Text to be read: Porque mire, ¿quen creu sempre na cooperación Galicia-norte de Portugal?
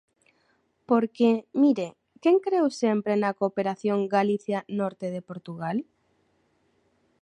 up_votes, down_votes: 2, 0